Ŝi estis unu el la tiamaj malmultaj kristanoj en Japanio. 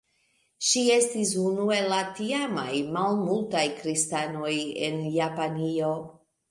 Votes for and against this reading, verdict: 0, 2, rejected